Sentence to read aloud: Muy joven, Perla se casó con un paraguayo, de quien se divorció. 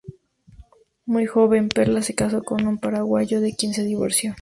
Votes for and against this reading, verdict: 2, 2, rejected